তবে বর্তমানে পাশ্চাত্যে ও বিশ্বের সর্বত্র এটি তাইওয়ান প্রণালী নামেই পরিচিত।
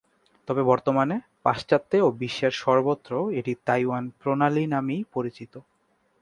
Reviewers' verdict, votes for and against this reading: accepted, 3, 0